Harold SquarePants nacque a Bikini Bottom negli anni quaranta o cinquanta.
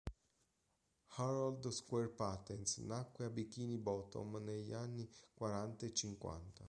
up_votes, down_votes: 0, 2